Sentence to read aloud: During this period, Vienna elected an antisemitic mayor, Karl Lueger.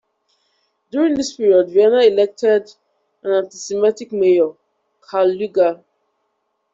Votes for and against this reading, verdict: 1, 2, rejected